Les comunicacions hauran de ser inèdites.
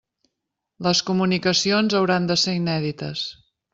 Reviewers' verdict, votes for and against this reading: accepted, 3, 0